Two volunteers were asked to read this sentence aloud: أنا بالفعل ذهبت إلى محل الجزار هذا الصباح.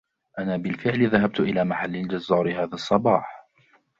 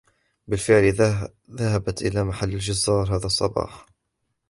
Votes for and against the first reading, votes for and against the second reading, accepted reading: 2, 0, 1, 2, first